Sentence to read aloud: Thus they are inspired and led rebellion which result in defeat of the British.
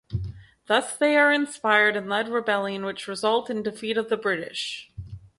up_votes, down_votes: 4, 0